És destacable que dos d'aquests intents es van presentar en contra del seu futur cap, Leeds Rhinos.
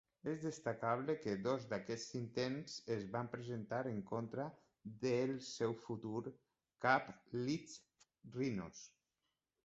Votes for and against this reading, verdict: 2, 1, accepted